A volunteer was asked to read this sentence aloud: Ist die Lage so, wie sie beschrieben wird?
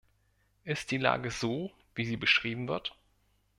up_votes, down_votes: 2, 0